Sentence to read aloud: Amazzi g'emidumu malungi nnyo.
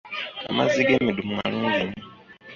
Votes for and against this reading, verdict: 0, 2, rejected